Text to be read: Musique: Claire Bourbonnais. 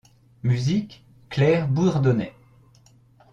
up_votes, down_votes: 1, 2